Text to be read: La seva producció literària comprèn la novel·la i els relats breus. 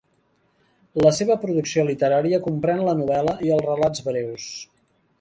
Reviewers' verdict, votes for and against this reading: accepted, 3, 0